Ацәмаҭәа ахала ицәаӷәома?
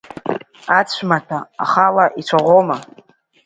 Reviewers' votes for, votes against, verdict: 2, 0, accepted